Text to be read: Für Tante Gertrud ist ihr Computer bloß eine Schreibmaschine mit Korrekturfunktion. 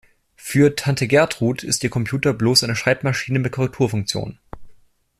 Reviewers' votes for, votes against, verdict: 2, 0, accepted